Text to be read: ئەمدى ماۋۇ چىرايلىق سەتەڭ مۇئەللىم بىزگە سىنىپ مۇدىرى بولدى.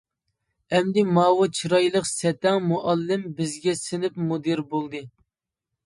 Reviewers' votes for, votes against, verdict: 2, 0, accepted